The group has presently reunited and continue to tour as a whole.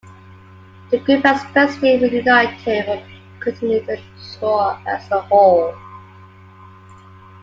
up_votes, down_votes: 0, 2